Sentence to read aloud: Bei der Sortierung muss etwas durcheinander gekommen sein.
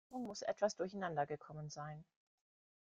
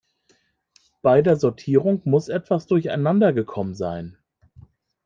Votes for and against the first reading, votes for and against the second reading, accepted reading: 0, 2, 2, 0, second